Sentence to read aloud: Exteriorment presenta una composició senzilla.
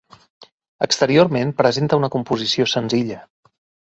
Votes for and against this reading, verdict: 2, 0, accepted